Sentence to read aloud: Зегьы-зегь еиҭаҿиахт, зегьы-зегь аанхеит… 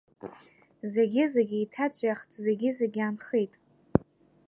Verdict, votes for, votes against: accepted, 2, 0